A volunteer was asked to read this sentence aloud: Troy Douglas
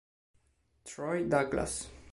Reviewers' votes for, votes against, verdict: 2, 0, accepted